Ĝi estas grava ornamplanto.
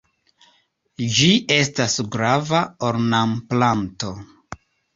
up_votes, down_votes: 2, 0